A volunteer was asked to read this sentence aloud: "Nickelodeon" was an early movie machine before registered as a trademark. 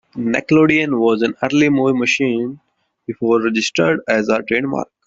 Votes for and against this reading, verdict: 2, 0, accepted